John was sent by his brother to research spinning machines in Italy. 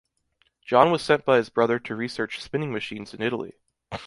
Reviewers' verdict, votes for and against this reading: rejected, 1, 2